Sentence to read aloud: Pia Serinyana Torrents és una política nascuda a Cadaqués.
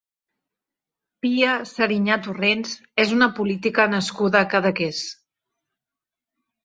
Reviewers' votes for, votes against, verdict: 0, 2, rejected